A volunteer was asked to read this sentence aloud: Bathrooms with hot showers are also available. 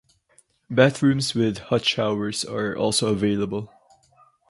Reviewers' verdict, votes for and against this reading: accepted, 4, 0